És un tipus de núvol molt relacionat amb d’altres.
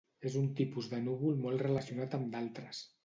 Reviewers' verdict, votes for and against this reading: accepted, 2, 0